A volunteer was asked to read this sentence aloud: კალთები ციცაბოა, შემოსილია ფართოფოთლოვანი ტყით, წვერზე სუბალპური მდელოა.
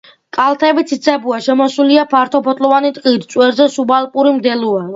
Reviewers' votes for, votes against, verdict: 2, 0, accepted